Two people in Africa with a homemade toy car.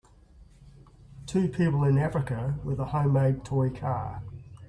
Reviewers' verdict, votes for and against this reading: accepted, 2, 0